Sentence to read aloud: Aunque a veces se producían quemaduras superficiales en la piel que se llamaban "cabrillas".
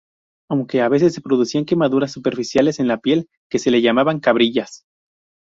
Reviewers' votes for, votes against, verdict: 2, 0, accepted